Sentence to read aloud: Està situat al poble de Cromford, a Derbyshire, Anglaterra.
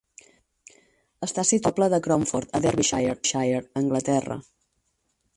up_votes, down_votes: 0, 4